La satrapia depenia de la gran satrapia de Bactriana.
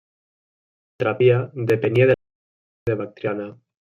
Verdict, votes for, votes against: rejected, 0, 2